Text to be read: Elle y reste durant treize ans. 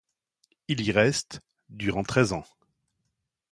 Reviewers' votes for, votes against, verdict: 1, 2, rejected